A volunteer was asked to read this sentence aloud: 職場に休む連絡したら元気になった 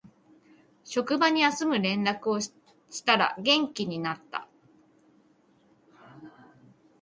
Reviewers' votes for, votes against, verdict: 1, 2, rejected